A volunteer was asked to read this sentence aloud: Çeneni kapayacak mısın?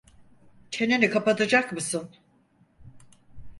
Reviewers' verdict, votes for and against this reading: rejected, 2, 4